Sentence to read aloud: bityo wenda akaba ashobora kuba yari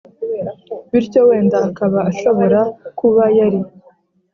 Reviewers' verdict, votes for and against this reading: accepted, 2, 0